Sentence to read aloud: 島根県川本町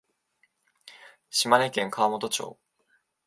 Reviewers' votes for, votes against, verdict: 2, 0, accepted